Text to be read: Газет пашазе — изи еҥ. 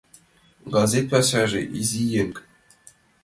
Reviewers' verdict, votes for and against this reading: accepted, 2, 0